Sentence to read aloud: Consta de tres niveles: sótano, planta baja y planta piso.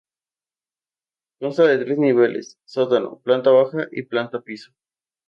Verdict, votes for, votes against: accepted, 2, 0